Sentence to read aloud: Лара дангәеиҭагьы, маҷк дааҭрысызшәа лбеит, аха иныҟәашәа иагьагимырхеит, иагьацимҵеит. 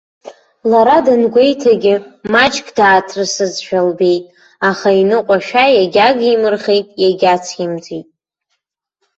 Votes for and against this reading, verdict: 1, 2, rejected